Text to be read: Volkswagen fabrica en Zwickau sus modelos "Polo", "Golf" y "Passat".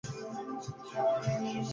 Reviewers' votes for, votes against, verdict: 0, 2, rejected